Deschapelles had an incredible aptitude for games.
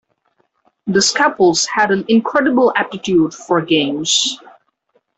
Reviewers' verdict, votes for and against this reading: accepted, 2, 0